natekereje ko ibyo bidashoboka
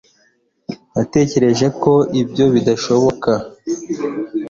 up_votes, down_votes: 2, 0